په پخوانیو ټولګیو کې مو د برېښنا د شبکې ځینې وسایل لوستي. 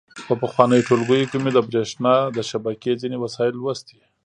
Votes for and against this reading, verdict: 2, 0, accepted